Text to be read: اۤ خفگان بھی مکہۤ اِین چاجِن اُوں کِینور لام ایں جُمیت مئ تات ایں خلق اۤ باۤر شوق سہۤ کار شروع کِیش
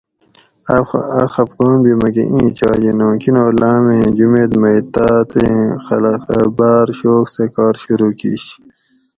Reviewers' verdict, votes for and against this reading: rejected, 2, 2